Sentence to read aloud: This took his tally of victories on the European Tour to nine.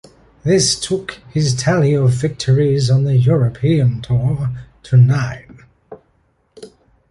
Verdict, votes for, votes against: accepted, 2, 0